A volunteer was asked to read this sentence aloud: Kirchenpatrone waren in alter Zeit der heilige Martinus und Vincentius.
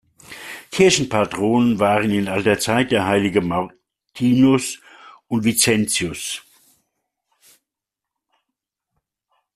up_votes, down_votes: 0, 2